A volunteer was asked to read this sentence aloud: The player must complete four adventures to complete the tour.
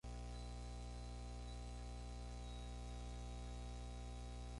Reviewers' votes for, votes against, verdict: 0, 6, rejected